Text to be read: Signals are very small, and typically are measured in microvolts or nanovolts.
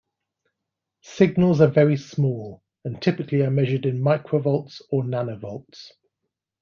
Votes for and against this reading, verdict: 2, 0, accepted